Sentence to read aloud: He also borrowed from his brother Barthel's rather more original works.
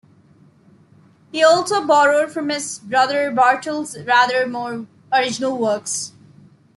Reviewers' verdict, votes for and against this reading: accepted, 2, 0